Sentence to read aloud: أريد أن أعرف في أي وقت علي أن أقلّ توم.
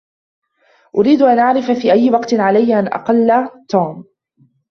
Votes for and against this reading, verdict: 1, 2, rejected